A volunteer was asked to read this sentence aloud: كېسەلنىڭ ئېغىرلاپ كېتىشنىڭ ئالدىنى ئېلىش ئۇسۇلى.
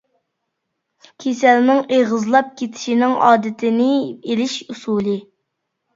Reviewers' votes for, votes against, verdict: 0, 2, rejected